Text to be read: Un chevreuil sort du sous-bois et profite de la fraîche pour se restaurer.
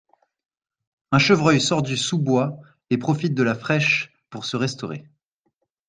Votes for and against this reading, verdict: 2, 0, accepted